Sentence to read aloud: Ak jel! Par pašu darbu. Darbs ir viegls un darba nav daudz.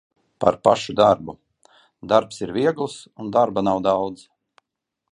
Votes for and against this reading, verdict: 0, 2, rejected